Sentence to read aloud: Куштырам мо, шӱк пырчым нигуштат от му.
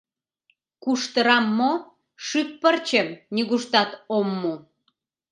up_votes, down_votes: 0, 2